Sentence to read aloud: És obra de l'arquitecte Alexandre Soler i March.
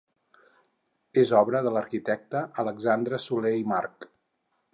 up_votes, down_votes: 4, 0